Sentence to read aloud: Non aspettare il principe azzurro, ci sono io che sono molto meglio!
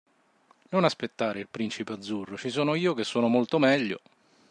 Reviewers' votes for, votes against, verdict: 2, 0, accepted